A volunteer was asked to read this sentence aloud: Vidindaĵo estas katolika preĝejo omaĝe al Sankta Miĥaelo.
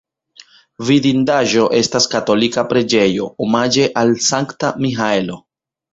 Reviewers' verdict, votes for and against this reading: rejected, 1, 2